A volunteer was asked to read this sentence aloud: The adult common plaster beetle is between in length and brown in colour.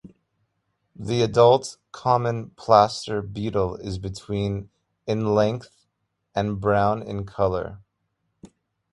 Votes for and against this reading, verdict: 2, 0, accepted